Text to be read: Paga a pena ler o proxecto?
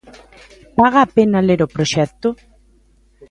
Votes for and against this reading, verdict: 2, 0, accepted